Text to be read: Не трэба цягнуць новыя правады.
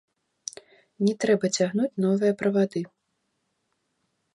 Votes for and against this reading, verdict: 2, 0, accepted